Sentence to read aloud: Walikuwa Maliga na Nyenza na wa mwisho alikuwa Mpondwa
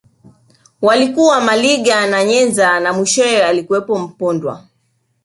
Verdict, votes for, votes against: accepted, 2, 1